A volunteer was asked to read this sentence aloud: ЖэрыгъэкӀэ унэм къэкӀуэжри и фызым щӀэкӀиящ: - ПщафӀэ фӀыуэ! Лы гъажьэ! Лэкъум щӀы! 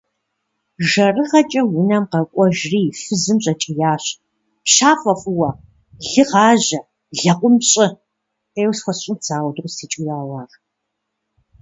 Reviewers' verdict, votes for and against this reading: rejected, 0, 2